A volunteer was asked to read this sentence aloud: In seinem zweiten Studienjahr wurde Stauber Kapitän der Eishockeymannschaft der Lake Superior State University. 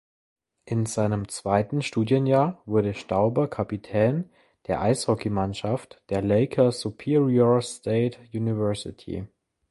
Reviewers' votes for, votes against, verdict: 2, 0, accepted